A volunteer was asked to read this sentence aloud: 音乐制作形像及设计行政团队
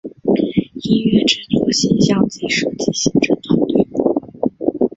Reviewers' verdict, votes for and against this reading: accepted, 2, 0